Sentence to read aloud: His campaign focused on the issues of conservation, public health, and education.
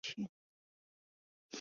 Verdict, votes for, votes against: rejected, 0, 3